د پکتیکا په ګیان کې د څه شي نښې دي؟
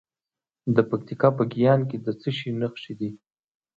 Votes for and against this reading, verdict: 2, 0, accepted